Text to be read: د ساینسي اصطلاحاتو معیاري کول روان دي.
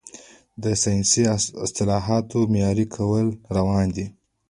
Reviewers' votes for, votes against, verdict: 0, 2, rejected